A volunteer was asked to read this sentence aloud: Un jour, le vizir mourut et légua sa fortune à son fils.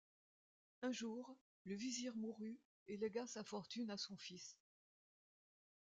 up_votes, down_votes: 2, 1